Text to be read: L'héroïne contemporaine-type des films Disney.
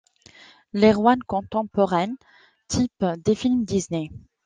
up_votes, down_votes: 1, 2